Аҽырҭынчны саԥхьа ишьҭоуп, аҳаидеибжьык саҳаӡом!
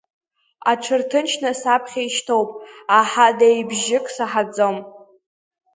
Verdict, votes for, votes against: rejected, 1, 2